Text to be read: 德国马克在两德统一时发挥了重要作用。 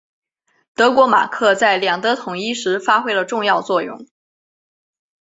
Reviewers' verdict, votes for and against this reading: accepted, 4, 0